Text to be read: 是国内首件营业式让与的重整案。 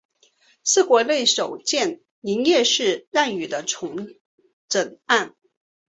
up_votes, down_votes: 3, 0